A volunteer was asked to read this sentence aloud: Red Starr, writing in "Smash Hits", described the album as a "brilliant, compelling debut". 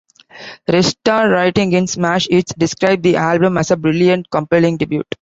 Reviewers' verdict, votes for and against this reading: accepted, 2, 1